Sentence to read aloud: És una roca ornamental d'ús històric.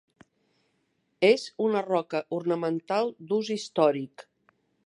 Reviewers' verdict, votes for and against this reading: accepted, 2, 0